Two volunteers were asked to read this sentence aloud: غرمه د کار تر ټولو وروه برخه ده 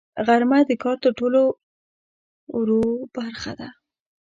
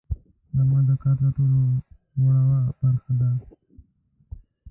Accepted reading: second